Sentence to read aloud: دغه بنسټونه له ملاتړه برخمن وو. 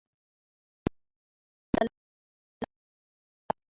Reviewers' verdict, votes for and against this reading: rejected, 1, 2